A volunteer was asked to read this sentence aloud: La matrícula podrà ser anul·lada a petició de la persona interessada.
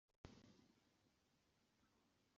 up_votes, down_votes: 0, 2